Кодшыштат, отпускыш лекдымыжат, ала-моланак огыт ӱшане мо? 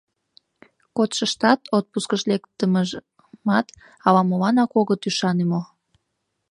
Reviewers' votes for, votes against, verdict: 1, 2, rejected